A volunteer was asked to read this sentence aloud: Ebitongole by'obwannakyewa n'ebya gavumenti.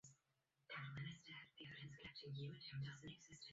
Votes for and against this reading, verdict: 0, 2, rejected